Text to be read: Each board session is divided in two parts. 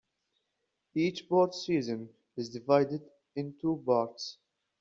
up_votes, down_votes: 1, 2